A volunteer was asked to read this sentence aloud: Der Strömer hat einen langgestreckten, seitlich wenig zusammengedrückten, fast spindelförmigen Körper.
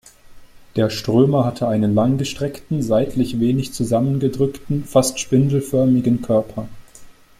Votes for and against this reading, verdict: 1, 2, rejected